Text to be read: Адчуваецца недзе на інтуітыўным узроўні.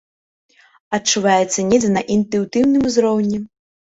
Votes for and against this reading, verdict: 1, 2, rejected